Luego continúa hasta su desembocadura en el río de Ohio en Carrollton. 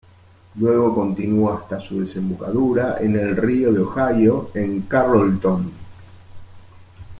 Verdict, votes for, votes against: rejected, 0, 2